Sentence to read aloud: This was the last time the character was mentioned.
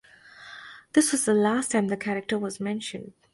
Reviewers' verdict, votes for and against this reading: accepted, 2, 0